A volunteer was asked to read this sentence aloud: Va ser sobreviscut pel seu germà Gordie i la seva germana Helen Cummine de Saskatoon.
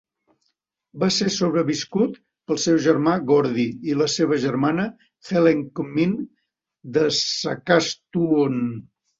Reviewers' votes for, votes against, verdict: 0, 2, rejected